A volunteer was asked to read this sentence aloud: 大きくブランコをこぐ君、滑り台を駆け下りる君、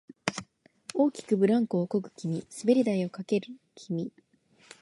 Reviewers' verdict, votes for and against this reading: rejected, 0, 2